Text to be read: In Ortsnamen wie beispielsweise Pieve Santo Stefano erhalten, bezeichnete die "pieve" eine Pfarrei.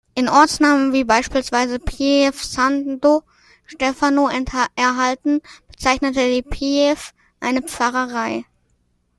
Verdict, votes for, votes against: rejected, 0, 2